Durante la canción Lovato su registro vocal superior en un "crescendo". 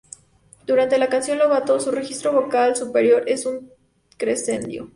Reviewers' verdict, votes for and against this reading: rejected, 0, 4